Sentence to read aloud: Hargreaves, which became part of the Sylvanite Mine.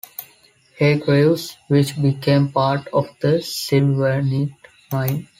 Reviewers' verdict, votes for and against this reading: accepted, 2, 0